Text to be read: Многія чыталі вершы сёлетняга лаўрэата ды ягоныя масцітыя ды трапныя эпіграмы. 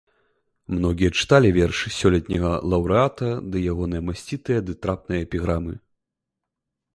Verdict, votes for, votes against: accepted, 2, 0